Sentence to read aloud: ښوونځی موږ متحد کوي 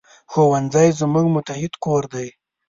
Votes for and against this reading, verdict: 0, 2, rejected